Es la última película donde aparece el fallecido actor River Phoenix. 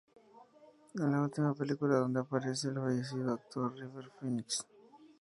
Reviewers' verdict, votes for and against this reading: accepted, 2, 0